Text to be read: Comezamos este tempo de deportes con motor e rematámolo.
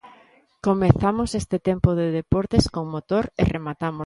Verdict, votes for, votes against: rejected, 0, 2